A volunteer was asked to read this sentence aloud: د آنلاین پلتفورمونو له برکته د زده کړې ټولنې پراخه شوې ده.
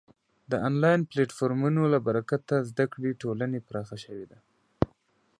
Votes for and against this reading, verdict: 2, 0, accepted